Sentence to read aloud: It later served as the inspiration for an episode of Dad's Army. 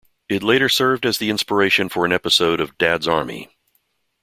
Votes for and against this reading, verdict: 2, 0, accepted